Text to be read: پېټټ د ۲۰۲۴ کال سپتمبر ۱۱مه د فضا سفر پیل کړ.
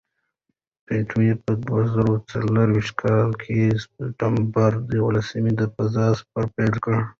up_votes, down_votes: 0, 2